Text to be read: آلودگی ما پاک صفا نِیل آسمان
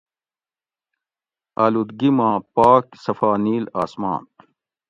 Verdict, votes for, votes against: accepted, 2, 0